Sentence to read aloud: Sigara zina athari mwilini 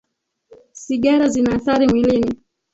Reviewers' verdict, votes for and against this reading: rejected, 2, 3